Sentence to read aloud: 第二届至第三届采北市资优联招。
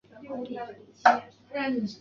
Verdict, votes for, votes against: accepted, 3, 2